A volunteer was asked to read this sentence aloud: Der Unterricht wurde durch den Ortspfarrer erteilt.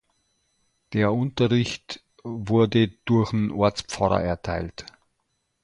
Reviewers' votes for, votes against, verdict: 1, 2, rejected